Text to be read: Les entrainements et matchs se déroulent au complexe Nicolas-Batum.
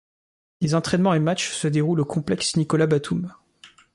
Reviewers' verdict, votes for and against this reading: accepted, 2, 0